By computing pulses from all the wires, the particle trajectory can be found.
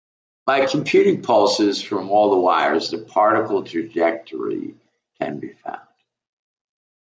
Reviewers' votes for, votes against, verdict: 2, 0, accepted